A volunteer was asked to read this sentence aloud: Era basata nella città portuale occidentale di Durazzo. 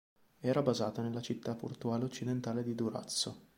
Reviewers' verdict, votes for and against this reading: accepted, 2, 0